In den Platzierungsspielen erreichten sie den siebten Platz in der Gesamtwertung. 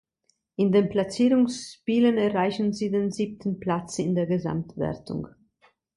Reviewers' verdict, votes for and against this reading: rejected, 0, 2